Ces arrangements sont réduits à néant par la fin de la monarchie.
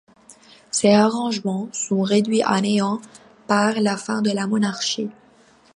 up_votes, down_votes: 1, 2